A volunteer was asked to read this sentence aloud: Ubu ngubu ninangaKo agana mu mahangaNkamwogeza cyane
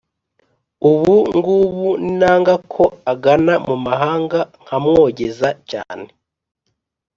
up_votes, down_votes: 4, 0